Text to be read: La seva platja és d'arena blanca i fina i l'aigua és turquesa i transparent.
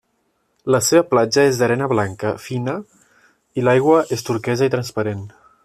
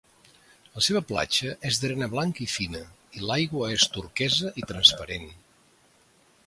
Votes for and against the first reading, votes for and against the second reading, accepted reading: 1, 2, 2, 0, second